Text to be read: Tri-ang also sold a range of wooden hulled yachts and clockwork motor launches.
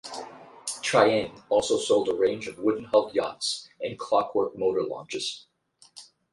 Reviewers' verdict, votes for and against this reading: accepted, 4, 0